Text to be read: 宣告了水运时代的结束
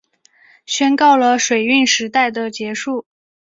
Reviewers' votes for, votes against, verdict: 4, 0, accepted